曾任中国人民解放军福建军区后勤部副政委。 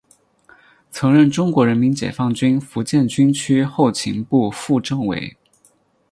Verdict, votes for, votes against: accepted, 6, 2